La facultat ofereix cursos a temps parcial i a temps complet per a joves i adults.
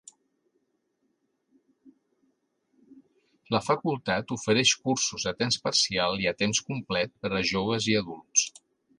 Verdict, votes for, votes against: accepted, 3, 0